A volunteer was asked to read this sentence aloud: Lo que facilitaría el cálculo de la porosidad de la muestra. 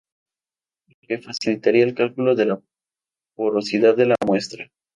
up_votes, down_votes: 0, 2